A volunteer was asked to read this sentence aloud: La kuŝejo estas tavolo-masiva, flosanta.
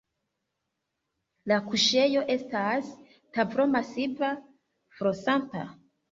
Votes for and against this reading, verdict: 2, 0, accepted